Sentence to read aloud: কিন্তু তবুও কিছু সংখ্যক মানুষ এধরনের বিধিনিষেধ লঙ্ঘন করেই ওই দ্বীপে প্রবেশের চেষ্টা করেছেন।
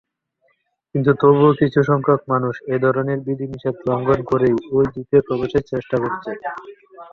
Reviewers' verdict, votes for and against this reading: accepted, 3, 1